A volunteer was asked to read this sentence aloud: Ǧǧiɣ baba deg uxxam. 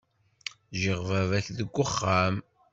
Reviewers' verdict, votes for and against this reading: rejected, 0, 2